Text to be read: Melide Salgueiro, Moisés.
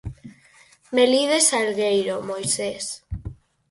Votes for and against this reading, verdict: 4, 0, accepted